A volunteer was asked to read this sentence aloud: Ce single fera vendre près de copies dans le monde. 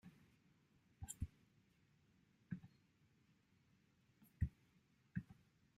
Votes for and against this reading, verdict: 0, 2, rejected